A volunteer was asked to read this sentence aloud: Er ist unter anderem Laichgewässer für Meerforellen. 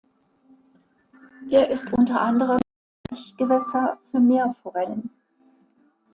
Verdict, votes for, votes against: rejected, 1, 2